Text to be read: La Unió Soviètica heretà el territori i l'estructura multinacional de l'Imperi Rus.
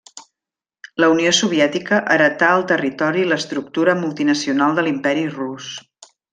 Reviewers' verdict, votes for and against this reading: rejected, 1, 2